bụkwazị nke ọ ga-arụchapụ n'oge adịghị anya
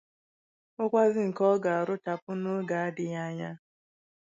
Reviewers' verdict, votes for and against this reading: accepted, 2, 0